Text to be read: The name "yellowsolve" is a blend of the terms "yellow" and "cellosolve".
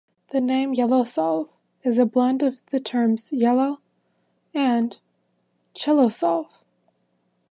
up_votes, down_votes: 2, 3